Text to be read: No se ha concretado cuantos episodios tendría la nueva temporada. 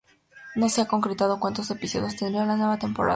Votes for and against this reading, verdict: 0, 2, rejected